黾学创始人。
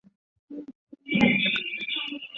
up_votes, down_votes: 1, 2